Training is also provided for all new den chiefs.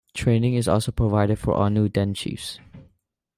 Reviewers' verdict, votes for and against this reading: accepted, 2, 0